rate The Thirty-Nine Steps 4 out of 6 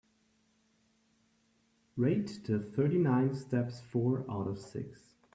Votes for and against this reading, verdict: 0, 2, rejected